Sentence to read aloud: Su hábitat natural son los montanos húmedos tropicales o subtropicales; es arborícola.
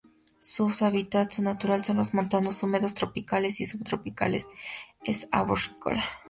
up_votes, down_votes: 0, 2